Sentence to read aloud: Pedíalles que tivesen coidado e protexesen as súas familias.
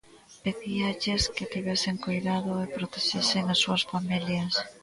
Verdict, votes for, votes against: accepted, 2, 0